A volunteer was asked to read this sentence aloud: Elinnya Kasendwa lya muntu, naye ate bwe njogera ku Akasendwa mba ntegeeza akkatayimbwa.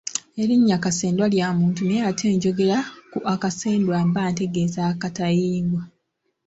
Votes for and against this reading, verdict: 1, 2, rejected